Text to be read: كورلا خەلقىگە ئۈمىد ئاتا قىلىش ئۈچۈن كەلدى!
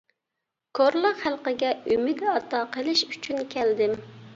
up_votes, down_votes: 0, 2